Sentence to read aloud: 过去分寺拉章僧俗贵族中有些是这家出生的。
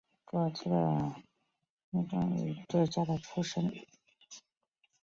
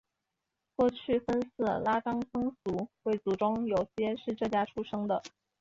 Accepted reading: second